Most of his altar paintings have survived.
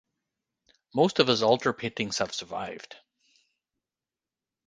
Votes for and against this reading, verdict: 3, 3, rejected